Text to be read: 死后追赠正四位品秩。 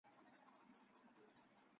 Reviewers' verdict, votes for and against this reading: rejected, 0, 2